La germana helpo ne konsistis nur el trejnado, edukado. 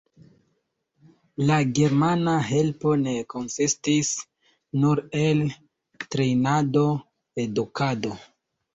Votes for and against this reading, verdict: 2, 0, accepted